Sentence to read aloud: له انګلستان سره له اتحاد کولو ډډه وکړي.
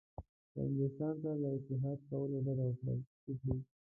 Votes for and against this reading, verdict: 1, 2, rejected